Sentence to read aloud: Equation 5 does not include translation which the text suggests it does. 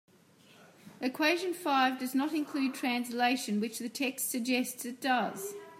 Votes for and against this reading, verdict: 0, 2, rejected